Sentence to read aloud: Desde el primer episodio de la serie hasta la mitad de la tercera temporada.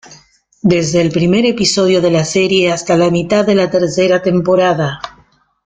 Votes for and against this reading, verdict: 2, 0, accepted